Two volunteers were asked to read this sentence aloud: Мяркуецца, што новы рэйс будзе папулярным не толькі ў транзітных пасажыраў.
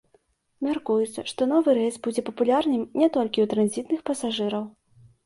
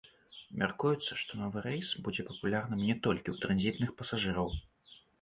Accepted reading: first